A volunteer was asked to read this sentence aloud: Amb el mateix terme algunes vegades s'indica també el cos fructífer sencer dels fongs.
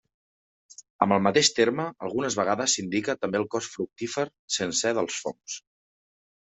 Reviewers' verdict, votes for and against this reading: accepted, 2, 0